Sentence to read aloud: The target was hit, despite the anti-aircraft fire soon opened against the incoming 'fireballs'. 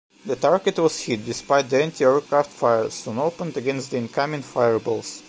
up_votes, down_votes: 3, 0